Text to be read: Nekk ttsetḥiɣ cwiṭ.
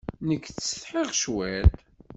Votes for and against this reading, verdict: 2, 0, accepted